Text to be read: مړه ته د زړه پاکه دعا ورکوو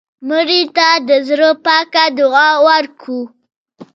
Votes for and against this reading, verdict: 0, 2, rejected